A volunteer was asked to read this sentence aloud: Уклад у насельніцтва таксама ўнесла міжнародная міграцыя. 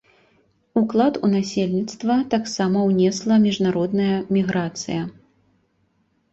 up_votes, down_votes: 2, 0